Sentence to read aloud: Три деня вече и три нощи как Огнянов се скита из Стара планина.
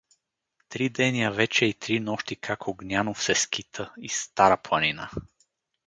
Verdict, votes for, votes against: accepted, 4, 0